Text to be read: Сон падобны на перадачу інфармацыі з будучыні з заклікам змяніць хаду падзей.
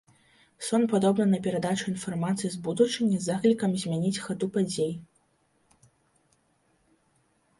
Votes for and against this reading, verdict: 2, 0, accepted